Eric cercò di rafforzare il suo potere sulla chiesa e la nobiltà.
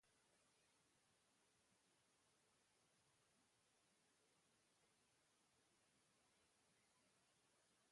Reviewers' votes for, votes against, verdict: 0, 2, rejected